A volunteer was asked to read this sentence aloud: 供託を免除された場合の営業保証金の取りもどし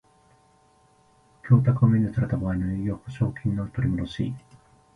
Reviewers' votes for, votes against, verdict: 1, 2, rejected